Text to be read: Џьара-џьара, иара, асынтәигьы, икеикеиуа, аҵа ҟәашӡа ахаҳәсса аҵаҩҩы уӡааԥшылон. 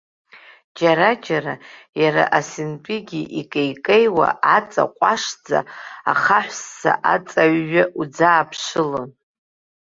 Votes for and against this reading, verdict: 3, 0, accepted